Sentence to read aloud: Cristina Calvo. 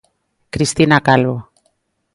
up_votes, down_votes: 2, 0